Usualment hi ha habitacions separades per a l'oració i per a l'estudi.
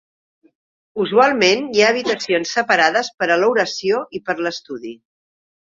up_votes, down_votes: 2, 0